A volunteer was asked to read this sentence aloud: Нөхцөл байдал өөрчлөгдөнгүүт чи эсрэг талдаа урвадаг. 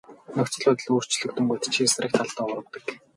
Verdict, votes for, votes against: rejected, 4, 4